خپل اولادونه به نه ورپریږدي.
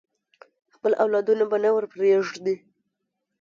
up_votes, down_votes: 3, 0